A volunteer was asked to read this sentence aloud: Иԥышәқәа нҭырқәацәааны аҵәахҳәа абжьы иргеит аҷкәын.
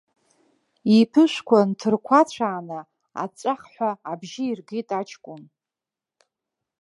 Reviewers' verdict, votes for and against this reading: accepted, 2, 0